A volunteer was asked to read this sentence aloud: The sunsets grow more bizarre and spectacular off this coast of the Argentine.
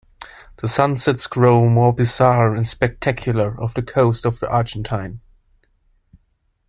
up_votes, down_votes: 0, 2